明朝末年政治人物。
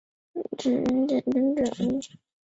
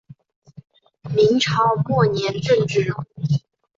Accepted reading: second